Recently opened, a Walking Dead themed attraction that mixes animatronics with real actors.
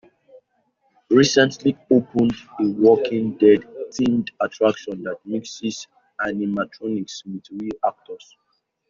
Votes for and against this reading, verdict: 0, 2, rejected